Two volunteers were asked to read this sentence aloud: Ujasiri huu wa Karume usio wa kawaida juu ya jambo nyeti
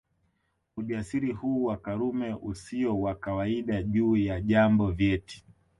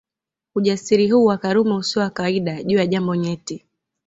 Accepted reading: second